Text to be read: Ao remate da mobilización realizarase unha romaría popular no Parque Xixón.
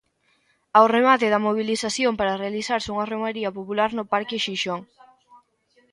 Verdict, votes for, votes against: rejected, 0, 2